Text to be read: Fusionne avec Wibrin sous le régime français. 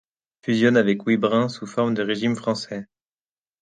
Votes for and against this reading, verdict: 1, 2, rejected